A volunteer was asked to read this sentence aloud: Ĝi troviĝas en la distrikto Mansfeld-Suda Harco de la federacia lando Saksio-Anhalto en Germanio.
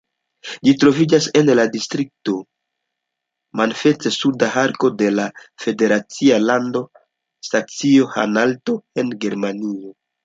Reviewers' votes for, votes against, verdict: 2, 0, accepted